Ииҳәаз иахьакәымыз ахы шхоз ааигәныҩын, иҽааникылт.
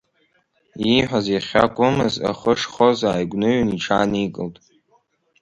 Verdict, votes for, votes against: accepted, 3, 1